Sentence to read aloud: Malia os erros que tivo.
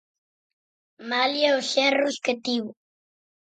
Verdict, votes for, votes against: accepted, 6, 0